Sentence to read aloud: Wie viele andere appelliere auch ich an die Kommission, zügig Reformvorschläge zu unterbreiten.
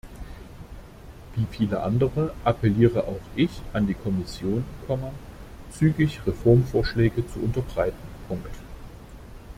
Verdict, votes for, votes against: rejected, 0, 2